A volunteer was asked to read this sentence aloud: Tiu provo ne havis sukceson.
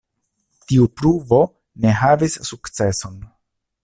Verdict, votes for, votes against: rejected, 0, 2